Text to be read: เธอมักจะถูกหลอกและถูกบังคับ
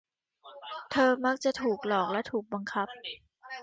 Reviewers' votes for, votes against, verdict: 2, 1, accepted